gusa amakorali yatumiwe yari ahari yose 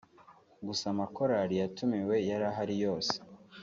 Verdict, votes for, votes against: accepted, 2, 0